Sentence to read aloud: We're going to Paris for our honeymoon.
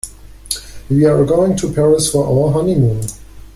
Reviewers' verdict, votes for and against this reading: accepted, 2, 0